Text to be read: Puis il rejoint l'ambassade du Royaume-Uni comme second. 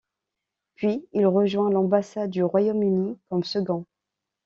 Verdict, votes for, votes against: accepted, 2, 0